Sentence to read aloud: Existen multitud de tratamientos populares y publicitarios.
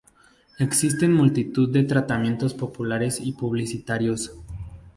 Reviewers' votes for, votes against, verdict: 2, 0, accepted